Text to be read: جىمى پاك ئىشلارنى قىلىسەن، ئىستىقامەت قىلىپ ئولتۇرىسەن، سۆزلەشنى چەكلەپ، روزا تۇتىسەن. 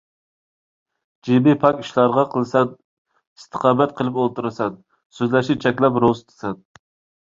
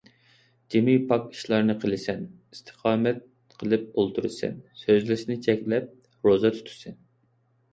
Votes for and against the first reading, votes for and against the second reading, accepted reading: 1, 2, 2, 0, second